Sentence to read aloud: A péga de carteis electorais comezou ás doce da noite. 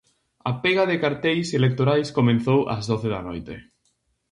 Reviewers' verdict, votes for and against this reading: rejected, 0, 2